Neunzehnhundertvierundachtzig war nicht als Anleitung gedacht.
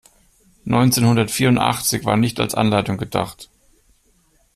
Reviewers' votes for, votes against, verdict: 2, 0, accepted